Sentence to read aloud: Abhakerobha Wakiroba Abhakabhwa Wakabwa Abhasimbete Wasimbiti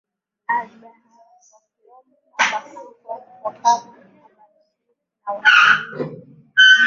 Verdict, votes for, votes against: rejected, 0, 5